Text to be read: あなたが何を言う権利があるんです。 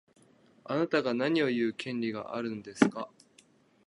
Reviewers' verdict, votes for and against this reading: rejected, 1, 2